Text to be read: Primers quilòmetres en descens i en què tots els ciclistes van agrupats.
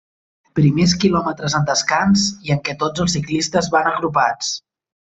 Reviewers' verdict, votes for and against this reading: rejected, 0, 2